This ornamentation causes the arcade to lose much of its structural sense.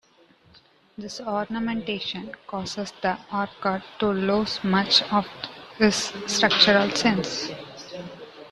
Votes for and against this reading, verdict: 1, 2, rejected